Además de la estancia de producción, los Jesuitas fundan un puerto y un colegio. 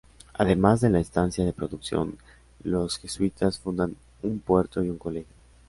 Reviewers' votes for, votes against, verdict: 2, 1, accepted